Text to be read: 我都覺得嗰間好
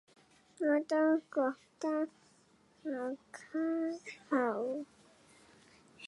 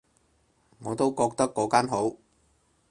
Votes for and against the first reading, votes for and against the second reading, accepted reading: 0, 3, 4, 0, second